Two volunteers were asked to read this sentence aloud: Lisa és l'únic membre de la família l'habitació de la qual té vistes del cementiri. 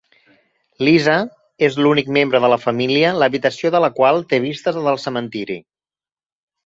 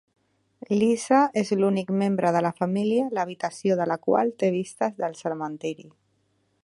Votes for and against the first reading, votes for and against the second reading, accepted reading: 4, 0, 0, 2, first